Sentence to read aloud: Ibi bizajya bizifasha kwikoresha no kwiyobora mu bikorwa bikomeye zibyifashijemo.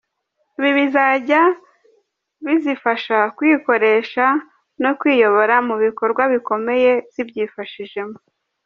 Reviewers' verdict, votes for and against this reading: accepted, 2, 0